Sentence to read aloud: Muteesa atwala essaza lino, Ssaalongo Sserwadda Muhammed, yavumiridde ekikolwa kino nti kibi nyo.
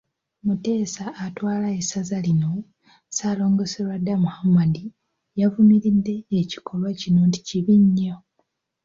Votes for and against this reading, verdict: 0, 2, rejected